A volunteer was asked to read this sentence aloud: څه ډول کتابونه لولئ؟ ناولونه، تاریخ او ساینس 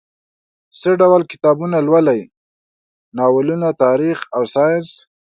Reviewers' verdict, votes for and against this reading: accepted, 2, 0